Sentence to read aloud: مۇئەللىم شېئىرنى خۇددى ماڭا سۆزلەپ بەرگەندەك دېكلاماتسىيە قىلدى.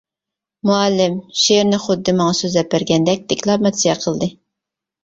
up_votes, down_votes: 2, 1